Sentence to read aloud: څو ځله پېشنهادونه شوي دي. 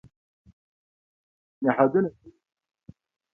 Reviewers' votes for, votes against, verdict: 2, 1, accepted